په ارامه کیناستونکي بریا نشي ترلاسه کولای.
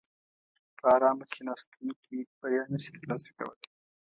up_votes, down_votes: 2, 0